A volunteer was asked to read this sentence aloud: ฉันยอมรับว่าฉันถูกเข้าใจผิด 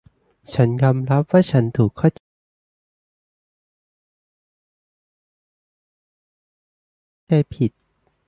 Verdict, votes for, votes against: rejected, 0, 2